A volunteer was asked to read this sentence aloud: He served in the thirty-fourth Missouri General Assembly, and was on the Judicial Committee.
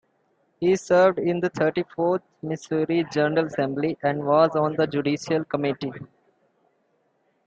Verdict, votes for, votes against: accepted, 2, 0